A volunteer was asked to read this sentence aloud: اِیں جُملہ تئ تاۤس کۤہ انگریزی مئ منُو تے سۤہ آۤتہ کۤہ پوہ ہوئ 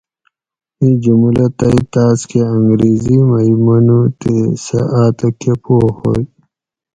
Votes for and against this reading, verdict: 4, 0, accepted